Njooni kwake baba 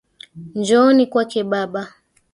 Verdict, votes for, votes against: accepted, 2, 1